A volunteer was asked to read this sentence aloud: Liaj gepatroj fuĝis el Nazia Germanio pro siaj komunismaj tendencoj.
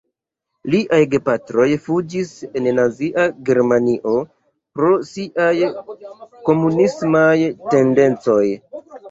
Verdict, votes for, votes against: rejected, 0, 2